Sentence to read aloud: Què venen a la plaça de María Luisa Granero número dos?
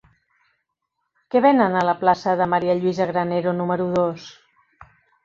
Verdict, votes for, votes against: accepted, 2, 0